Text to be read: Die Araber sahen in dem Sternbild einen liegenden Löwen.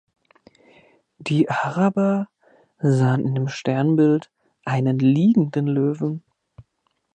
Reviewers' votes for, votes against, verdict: 2, 0, accepted